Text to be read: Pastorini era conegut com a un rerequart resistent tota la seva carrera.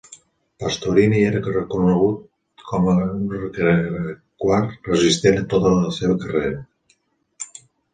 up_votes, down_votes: 0, 2